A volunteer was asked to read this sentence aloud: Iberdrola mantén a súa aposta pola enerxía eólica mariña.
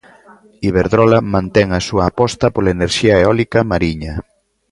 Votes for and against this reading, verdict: 2, 0, accepted